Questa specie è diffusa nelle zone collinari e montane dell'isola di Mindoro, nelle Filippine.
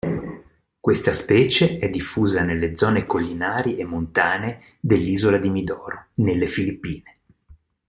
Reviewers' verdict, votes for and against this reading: rejected, 0, 3